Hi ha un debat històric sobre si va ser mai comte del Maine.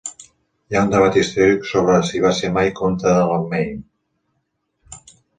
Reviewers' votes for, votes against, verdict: 1, 2, rejected